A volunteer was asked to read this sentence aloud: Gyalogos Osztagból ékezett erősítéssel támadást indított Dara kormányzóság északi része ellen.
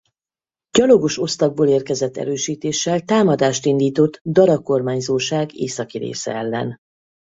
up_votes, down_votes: 0, 2